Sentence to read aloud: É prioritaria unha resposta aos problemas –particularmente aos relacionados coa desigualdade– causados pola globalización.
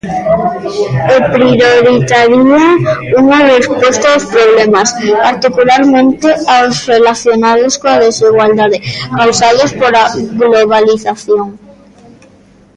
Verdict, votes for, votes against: rejected, 0, 2